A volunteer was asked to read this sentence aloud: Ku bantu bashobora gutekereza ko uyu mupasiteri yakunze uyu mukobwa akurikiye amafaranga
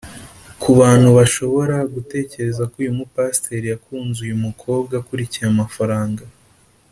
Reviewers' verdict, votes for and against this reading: accepted, 2, 0